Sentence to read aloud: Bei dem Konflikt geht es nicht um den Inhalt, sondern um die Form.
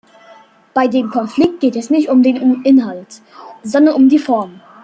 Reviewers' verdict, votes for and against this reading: rejected, 1, 2